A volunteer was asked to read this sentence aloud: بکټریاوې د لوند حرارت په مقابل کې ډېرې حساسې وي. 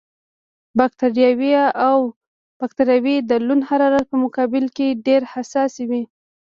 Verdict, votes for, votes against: rejected, 0, 2